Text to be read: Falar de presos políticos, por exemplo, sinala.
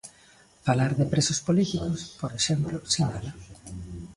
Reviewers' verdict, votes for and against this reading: rejected, 1, 2